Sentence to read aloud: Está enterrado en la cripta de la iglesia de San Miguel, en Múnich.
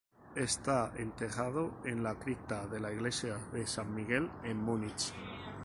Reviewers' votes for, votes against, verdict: 2, 0, accepted